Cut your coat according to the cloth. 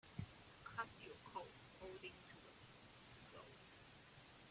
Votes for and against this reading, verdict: 0, 2, rejected